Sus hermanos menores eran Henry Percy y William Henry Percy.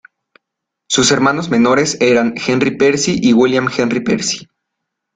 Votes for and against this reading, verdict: 2, 0, accepted